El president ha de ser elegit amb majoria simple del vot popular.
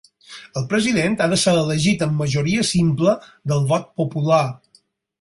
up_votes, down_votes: 4, 0